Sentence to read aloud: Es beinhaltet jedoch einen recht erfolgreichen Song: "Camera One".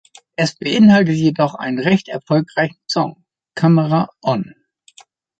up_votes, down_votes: 1, 2